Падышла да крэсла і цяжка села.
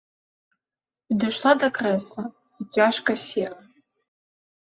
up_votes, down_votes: 2, 0